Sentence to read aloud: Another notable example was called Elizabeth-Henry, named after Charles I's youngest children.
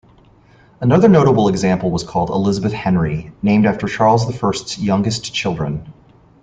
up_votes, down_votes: 1, 2